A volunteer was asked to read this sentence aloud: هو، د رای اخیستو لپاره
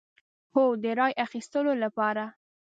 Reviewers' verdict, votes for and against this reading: accepted, 2, 0